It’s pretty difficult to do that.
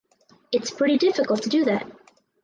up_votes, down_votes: 4, 0